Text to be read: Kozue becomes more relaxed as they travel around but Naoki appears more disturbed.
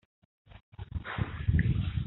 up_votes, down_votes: 0, 3